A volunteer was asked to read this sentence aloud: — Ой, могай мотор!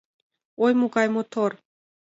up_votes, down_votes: 2, 0